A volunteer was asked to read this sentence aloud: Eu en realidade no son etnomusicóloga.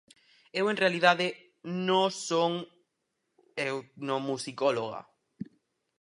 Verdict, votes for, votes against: rejected, 2, 2